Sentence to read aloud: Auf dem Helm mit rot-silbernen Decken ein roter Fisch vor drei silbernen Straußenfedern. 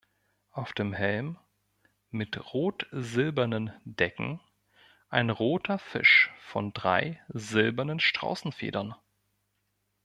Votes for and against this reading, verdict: 0, 2, rejected